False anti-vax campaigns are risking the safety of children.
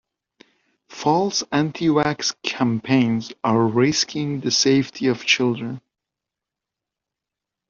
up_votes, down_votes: 1, 2